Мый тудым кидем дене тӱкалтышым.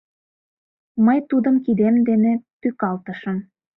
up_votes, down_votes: 2, 0